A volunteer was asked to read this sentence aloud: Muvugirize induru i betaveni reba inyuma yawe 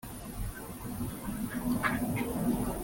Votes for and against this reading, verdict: 0, 2, rejected